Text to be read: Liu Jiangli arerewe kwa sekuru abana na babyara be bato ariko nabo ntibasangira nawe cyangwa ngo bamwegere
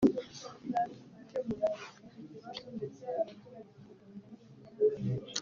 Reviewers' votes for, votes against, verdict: 0, 2, rejected